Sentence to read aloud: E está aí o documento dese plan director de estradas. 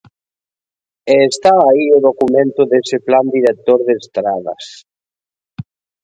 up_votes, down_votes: 2, 0